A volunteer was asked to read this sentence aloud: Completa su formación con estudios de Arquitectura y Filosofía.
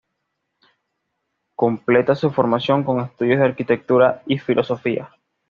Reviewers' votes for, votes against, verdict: 2, 0, accepted